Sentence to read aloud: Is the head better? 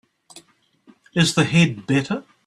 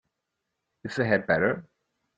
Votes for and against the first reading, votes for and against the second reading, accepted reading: 1, 2, 4, 0, second